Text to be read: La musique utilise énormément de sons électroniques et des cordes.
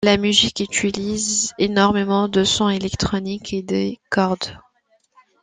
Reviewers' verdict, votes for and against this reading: accepted, 2, 0